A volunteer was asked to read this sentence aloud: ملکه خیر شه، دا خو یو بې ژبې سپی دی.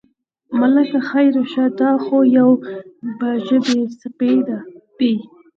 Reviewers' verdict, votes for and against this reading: accepted, 4, 2